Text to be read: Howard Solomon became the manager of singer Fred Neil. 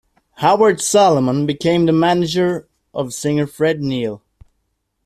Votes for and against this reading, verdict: 2, 0, accepted